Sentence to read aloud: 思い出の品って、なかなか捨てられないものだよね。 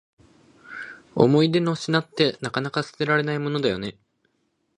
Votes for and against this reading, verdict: 2, 0, accepted